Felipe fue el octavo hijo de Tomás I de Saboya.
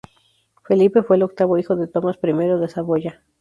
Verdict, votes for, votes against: accepted, 2, 0